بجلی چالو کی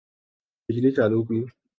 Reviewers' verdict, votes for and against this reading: accepted, 2, 0